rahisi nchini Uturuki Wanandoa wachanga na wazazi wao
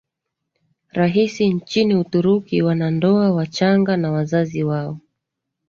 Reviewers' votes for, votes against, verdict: 2, 0, accepted